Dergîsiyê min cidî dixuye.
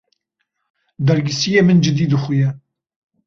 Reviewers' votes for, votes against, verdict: 2, 0, accepted